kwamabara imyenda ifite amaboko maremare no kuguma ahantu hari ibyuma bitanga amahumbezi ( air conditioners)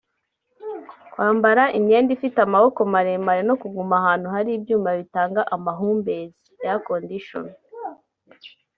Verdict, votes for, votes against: rejected, 0, 2